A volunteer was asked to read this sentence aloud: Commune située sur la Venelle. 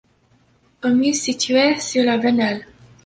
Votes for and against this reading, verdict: 1, 2, rejected